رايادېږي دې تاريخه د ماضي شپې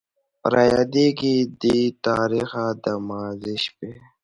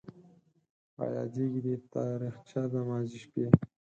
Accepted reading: first